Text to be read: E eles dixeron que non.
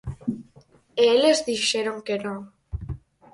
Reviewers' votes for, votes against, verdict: 4, 2, accepted